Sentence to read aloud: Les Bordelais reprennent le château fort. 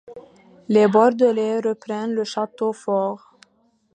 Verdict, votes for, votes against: accepted, 2, 0